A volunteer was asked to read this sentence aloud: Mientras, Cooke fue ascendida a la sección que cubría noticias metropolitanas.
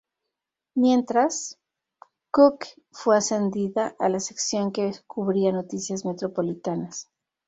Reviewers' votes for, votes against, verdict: 4, 0, accepted